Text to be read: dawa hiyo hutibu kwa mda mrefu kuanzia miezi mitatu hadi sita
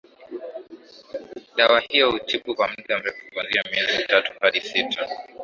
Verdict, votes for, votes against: accepted, 2, 1